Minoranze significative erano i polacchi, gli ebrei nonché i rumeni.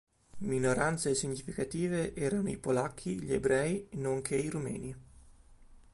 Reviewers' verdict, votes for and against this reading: accepted, 2, 0